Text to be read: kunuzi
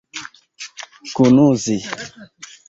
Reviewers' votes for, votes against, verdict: 0, 2, rejected